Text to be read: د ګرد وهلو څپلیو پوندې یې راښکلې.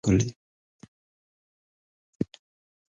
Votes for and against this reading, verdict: 1, 2, rejected